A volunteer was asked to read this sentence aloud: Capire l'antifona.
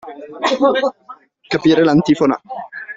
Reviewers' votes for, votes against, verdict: 2, 0, accepted